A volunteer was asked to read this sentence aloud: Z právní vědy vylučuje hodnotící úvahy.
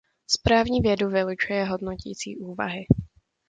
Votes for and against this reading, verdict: 0, 2, rejected